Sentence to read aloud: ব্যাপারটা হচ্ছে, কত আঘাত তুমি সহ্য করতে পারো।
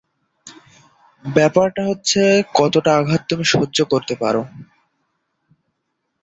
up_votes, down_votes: 0, 2